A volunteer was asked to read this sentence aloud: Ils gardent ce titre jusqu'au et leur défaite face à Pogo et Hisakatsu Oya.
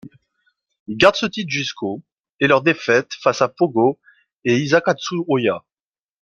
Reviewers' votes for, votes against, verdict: 0, 2, rejected